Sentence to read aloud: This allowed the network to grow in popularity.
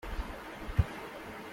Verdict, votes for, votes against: rejected, 0, 2